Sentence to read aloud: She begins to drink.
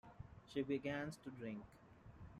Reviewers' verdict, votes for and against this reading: rejected, 1, 2